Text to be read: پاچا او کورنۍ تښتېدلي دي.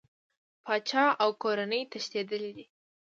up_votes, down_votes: 2, 0